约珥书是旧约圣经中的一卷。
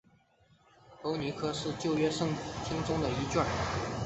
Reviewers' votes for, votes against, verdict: 1, 2, rejected